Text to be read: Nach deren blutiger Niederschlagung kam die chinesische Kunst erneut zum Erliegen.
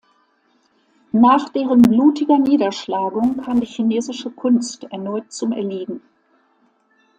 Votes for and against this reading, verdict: 2, 0, accepted